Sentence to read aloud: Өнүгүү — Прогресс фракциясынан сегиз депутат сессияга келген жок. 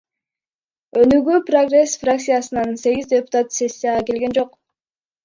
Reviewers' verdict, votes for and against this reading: rejected, 1, 2